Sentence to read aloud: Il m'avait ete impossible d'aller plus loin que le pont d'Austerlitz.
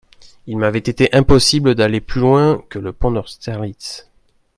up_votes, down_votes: 1, 2